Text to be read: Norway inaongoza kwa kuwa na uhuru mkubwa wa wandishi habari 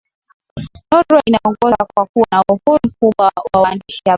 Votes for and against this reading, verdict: 0, 2, rejected